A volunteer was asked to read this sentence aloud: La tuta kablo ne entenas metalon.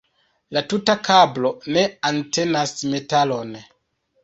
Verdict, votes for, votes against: rejected, 0, 2